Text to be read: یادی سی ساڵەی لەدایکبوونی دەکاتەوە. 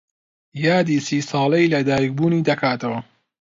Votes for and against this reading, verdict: 2, 0, accepted